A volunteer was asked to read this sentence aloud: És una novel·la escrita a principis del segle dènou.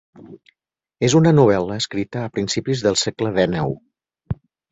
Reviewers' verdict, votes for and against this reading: accepted, 2, 1